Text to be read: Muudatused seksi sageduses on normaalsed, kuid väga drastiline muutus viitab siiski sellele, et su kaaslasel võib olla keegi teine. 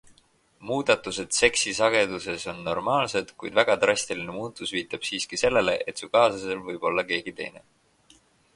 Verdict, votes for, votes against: accepted, 4, 0